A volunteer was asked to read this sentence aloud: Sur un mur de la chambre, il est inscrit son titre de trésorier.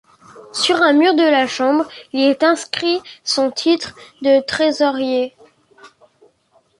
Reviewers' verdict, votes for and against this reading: accepted, 2, 0